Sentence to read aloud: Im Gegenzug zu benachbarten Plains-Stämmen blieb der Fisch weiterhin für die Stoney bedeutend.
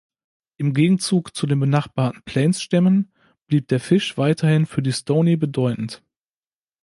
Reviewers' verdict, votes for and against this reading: rejected, 0, 2